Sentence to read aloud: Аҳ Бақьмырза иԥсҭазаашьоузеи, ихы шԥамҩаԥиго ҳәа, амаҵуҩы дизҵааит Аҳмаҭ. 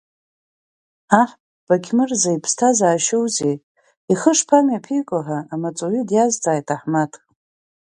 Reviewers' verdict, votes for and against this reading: accepted, 2, 0